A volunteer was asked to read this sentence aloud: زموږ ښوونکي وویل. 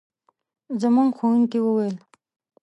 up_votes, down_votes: 2, 0